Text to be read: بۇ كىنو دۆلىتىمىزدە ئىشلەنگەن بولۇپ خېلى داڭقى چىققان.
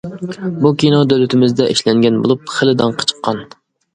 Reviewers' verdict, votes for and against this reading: accepted, 2, 0